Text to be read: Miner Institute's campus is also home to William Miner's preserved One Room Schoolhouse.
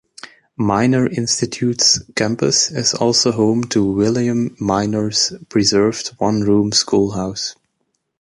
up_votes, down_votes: 2, 0